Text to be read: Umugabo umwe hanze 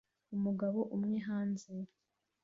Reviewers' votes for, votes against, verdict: 2, 0, accepted